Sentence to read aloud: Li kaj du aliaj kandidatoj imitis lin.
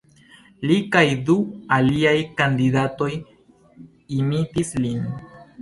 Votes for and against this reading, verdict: 2, 0, accepted